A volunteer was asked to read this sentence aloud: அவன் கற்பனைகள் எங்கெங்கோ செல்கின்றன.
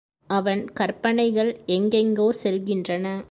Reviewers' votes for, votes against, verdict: 2, 0, accepted